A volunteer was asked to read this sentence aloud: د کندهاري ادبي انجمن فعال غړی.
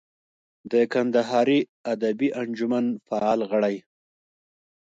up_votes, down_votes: 2, 1